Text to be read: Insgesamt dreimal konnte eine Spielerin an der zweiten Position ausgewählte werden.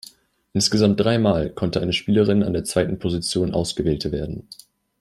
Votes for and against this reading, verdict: 1, 2, rejected